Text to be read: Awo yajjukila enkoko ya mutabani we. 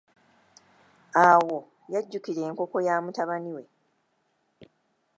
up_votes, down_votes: 2, 0